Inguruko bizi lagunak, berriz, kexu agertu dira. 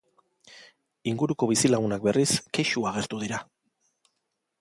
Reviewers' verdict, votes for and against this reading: accepted, 2, 0